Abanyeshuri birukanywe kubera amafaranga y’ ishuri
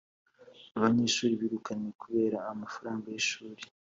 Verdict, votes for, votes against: accepted, 2, 0